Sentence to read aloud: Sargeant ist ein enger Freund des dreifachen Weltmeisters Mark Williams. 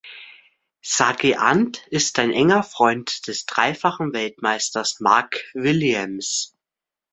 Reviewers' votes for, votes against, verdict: 1, 2, rejected